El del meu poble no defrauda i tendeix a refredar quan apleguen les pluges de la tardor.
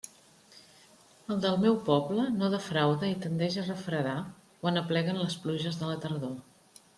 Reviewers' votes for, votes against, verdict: 3, 0, accepted